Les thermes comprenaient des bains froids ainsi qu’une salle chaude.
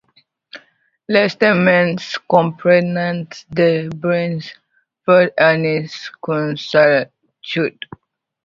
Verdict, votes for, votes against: rejected, 0, 2